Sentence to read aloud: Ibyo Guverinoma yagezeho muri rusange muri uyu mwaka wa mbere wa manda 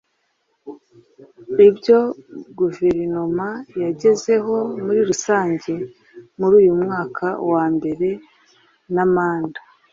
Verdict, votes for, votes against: rejected, 1, 2